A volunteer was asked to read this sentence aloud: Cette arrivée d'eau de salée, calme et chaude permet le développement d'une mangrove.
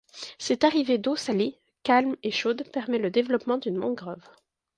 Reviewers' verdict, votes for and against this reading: rejected, 0, 2